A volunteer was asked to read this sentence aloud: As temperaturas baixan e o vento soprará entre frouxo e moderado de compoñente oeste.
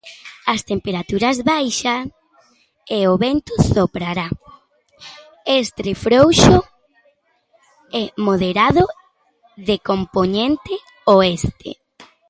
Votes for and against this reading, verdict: 1, 2, rejected